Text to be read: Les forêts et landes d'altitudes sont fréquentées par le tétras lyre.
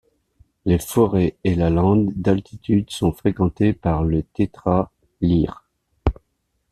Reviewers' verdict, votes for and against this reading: rejected, 0, 2